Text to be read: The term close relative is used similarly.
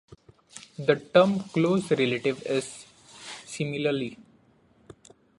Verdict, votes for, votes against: rejected, 1, 2